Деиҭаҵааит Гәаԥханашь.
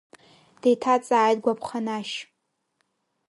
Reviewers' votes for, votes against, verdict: 2, 1, accepted